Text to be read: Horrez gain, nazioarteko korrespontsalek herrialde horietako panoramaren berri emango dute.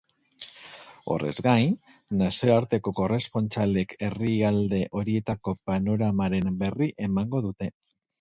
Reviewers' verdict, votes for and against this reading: rejected, 2, 2